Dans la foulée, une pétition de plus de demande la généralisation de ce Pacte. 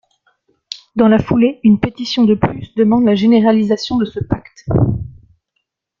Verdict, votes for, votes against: rejected, 0, 2